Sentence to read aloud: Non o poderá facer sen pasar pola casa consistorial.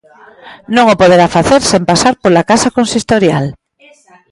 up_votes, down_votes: 1, 2